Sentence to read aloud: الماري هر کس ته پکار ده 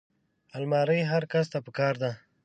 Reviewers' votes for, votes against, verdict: 2, 0, accepted